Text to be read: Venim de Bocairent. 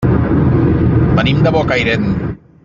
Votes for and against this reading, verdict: 3, 0, accepted